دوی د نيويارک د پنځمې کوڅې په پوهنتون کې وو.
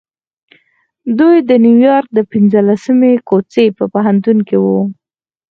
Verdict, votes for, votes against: rejected, 2, 4